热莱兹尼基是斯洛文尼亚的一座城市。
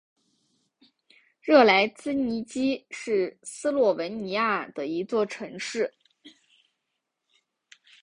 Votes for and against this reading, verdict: 1, 2, rejected